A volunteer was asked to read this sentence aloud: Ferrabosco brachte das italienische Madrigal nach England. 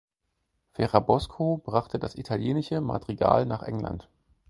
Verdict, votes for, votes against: accepted, 4, 0